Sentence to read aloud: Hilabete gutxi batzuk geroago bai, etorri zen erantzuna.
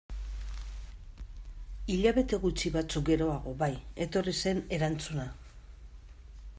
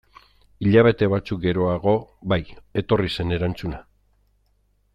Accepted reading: first